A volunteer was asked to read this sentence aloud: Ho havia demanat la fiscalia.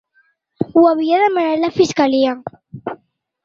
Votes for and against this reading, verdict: 3, 0, accepted